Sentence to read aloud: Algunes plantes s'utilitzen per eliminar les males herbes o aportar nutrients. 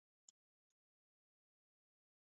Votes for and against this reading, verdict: 0, 2, rejected